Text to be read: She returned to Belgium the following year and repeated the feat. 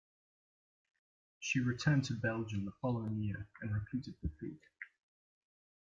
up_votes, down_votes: 2, 0